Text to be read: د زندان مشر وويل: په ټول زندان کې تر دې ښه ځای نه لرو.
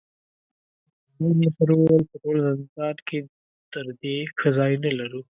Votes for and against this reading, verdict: 1, 2, rejected